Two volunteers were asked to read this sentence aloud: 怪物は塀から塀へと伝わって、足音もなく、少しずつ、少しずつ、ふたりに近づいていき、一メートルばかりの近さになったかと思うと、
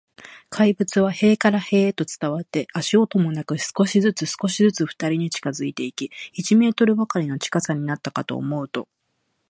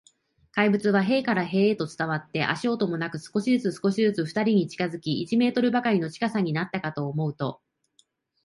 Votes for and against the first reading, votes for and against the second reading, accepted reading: 2, 0, 1, 2, first